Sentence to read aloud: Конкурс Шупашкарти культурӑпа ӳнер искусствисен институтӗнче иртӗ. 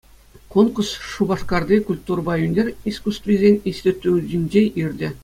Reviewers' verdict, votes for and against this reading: accepted, 2, 0